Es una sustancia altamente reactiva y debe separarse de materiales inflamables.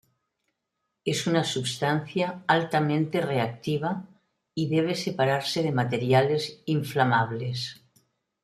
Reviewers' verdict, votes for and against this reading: accepted, 2, 1